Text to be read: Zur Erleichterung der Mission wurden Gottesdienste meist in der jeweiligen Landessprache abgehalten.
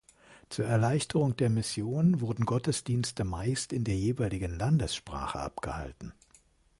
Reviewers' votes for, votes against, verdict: 2, 0, accepted